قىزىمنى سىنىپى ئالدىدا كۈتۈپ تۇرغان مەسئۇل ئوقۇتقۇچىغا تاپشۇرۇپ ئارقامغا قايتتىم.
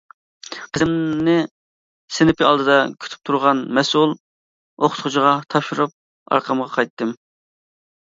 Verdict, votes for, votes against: rejected, 1, 2